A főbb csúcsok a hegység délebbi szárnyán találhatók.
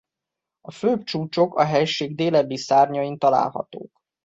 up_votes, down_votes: 0, 2